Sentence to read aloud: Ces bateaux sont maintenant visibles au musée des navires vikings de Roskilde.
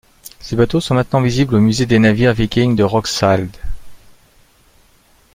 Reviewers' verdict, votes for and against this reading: rejected, 1, 2